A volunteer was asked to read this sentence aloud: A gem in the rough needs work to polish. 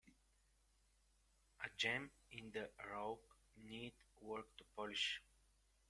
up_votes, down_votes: 2, 4